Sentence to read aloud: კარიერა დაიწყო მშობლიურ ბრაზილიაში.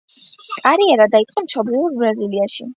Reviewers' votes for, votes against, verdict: 0, 2, rejected